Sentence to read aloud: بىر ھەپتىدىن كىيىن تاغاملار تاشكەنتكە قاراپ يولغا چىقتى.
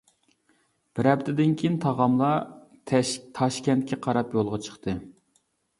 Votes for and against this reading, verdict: 0, 2, rejected